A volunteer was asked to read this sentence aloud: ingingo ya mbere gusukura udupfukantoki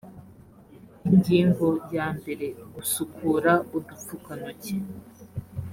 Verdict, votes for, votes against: accepted, 2, 0